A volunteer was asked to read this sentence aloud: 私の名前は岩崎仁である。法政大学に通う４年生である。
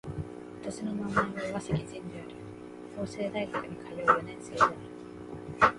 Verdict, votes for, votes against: rejected, 0, 2